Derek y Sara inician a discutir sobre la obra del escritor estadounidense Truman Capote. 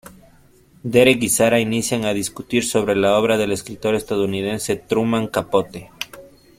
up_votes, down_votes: 2, 0